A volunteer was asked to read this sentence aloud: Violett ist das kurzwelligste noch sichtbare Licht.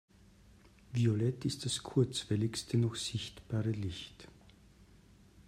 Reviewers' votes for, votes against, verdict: 2, 0, accepted